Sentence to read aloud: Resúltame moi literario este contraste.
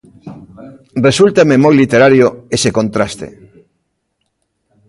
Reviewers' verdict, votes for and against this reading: rejected, 0, 2